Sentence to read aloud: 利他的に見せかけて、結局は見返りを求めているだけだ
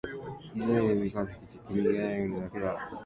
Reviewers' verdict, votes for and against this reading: rejected, 0, 2